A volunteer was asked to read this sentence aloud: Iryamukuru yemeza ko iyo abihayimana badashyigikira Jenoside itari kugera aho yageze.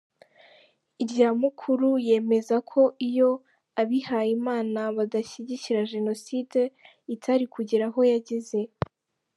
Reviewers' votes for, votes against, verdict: 2, 0, accepted